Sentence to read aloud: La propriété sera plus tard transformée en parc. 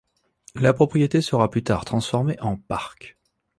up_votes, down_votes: 2, 0